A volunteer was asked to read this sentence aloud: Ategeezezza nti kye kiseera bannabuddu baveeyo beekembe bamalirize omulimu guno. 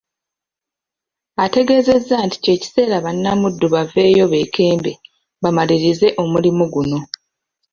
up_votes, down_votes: 0, 2